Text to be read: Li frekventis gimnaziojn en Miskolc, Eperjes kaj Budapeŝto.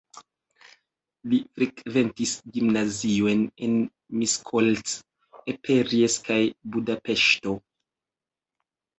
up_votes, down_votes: 2, 1